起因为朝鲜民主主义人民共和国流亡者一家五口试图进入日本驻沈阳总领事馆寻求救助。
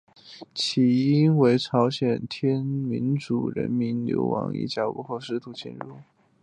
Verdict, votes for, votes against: rejected, 4, 5